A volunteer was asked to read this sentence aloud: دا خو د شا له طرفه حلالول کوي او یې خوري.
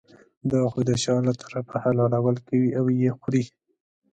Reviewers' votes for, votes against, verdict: 2, 0, accepted